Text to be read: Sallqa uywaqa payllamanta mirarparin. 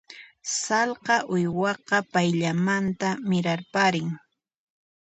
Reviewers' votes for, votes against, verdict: 2, 0, accepted